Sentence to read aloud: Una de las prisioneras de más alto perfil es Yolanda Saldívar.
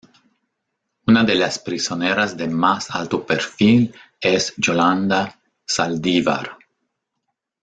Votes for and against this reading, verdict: 2, 0, accepted